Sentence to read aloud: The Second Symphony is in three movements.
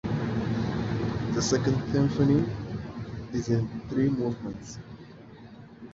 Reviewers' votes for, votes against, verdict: 2, 0, accepted